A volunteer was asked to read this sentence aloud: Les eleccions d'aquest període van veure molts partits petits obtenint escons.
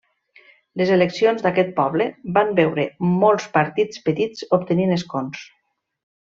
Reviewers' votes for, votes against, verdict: 1, 2, rejected